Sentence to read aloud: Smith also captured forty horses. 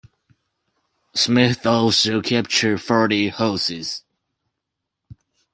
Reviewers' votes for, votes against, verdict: 2, 1, accepted